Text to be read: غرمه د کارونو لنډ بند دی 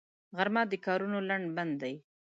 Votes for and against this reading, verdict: 2, 0, accepted